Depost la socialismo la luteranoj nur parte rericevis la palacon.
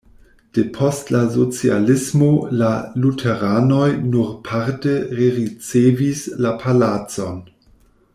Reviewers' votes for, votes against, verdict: 1, 2, rejected